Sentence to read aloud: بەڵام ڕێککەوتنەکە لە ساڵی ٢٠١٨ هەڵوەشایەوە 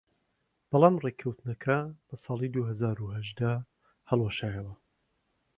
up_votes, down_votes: 0, 2